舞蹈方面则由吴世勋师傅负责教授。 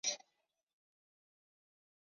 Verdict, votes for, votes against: rejected, 0, 2